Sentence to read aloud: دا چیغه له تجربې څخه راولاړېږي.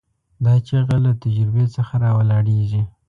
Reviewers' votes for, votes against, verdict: 2, 0, accepted